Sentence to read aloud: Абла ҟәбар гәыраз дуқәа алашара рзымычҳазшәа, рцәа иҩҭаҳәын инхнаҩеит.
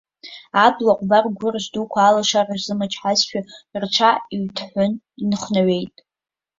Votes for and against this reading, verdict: 3, 4, rejected